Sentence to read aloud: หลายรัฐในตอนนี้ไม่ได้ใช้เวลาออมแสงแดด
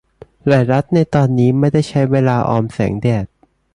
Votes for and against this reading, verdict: 2, 0, accepted